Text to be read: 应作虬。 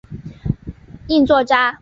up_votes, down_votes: 2, 1